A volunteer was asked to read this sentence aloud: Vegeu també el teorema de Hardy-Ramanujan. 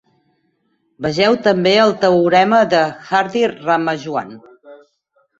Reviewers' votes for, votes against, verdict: 2, 6, rejected